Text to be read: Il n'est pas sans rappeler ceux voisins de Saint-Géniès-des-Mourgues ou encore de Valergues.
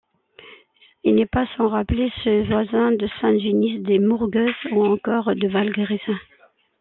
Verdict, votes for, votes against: rejected, 0, 2